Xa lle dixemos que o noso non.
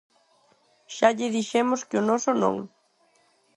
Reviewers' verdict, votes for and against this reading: accepted, 4, 0